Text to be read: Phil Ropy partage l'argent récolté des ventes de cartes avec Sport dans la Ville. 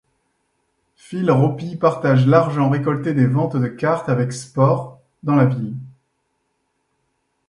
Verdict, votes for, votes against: accepted, 2, 0